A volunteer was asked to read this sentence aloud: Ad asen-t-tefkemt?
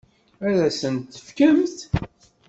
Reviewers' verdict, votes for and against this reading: accepted, 2, 0